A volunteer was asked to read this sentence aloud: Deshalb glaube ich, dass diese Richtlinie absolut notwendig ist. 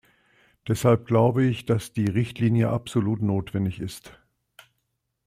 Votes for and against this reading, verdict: 0, 2, rejected